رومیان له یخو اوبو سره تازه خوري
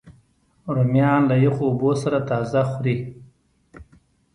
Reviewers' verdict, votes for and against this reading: accepted, 2, 0